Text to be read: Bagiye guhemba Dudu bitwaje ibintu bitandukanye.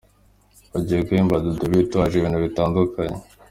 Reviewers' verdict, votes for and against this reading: accepted, 2, 0